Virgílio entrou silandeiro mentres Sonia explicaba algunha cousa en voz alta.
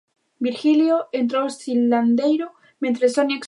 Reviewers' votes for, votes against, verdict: 1, 2, rejected